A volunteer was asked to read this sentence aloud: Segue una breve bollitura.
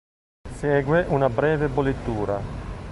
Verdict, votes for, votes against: accepted, 3, 0